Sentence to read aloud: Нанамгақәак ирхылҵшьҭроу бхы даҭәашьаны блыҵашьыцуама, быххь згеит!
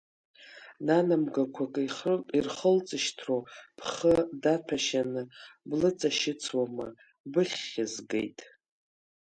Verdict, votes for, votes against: rejected, 1, 2